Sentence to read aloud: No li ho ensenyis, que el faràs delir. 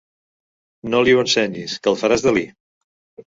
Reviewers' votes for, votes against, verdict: 2, 0, accepted